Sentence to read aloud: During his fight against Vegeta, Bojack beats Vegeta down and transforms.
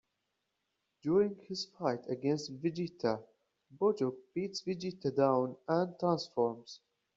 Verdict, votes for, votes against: accepted, 2, 0